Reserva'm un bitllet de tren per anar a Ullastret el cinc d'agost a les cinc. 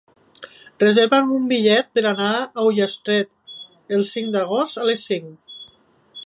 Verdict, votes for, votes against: rejected, 2, 11